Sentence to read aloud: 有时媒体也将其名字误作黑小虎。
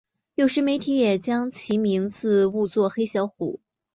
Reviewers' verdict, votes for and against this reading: accepted, 2, 0